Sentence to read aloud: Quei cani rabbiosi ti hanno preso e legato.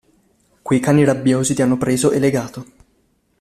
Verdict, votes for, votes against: accepted, 2, 0